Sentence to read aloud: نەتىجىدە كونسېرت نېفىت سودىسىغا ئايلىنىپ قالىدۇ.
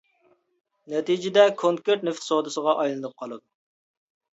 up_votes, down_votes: 0, 2